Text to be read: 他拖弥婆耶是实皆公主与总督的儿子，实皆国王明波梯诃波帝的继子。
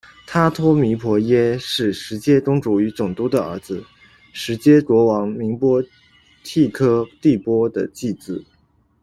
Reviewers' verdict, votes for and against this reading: rejected, 0, 2